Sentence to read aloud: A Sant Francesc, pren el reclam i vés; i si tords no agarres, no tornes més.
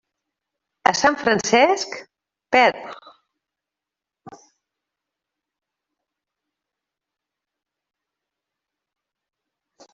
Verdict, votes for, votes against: rejected, 0, 2